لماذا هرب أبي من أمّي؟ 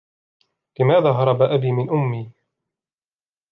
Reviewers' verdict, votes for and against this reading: accepted, 2, 0